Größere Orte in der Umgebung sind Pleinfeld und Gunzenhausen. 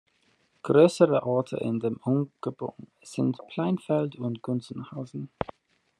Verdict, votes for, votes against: rejected, 1, 2